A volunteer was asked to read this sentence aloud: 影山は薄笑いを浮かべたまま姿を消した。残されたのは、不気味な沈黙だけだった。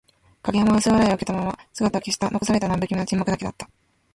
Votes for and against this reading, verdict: 1, 2, rejected